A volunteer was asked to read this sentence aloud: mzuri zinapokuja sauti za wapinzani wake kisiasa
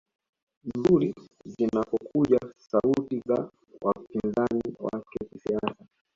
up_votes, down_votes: 2, 1